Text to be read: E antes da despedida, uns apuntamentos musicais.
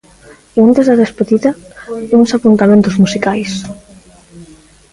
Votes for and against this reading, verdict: 2, 0, accepted